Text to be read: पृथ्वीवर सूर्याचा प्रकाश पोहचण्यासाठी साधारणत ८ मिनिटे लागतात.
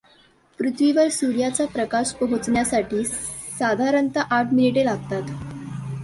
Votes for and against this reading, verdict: 0, 2, rejected